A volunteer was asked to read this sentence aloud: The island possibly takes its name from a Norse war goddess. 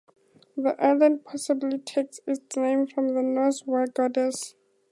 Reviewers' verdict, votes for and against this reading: accepted, 2, 0